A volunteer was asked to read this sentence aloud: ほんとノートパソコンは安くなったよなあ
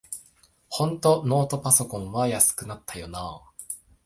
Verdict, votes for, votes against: accepted, 2, 1